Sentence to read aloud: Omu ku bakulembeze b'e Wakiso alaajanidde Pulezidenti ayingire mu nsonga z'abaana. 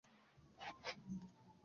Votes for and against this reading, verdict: 0, 3, rejected